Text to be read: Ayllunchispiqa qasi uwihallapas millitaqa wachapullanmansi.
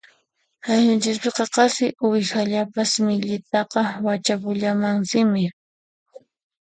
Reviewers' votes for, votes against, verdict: 0, 2, rejected